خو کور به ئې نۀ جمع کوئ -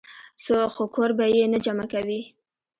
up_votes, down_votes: 1, 2